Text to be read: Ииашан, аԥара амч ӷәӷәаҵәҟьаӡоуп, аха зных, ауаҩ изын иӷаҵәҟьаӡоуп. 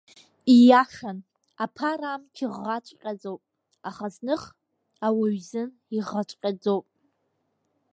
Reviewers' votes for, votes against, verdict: 2, 1, accepted